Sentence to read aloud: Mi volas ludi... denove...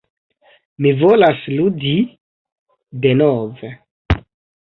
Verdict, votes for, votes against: accepted, 3, 0